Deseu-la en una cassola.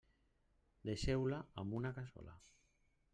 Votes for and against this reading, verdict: 0, 2, rejected